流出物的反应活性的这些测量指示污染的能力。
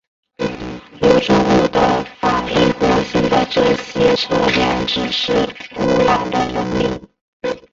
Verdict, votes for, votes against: rejected, 0, 2